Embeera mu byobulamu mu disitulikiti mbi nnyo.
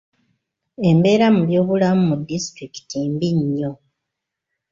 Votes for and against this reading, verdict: 2, 0, accepted